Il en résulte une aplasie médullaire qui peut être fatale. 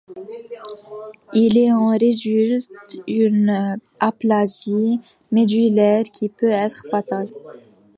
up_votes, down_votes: 0, 2